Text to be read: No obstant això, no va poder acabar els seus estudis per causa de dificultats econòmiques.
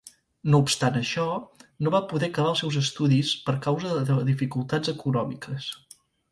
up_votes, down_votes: 1, 2